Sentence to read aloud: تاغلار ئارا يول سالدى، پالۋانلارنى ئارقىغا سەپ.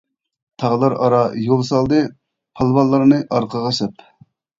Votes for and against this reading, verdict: 2, 0, accepted